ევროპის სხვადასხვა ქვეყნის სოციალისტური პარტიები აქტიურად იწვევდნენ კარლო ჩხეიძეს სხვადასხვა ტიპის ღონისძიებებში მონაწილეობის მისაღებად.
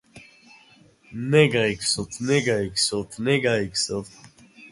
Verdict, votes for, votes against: rejected, 0, 2